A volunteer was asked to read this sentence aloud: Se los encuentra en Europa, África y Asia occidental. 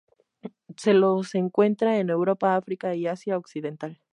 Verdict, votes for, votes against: accepted, 2, 0